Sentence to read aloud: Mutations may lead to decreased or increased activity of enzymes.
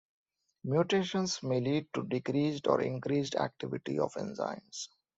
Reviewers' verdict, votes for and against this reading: accepted, 2, 0